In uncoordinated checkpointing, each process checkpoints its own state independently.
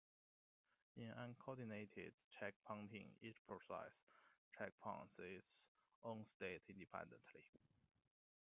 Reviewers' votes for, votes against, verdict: 2, 1, accepted